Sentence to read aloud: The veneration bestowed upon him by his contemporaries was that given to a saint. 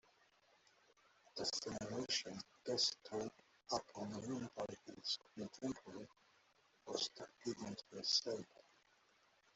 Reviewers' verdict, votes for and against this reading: rejected, 0, 2